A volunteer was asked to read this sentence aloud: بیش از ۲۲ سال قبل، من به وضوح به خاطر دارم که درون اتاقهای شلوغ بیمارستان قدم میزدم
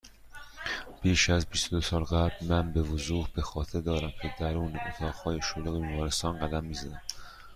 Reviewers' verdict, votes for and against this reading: rejected, 0, 2